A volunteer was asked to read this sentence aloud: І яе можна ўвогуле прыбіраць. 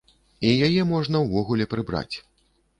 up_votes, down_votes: 1, 2